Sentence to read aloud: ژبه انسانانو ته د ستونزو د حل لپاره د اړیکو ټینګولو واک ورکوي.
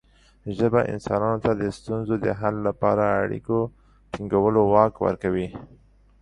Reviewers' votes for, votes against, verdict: 2, 0, accepted